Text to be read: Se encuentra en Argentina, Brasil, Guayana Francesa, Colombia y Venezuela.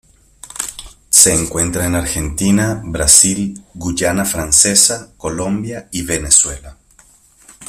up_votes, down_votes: 1, 2